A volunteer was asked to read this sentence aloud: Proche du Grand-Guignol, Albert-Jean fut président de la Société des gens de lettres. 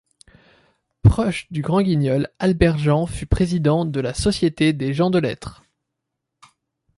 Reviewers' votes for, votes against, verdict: 2, 0, accepted